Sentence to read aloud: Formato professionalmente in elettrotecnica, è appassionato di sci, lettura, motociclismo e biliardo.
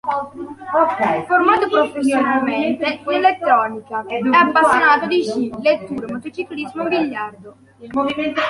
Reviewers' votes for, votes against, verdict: 0, 2, rejected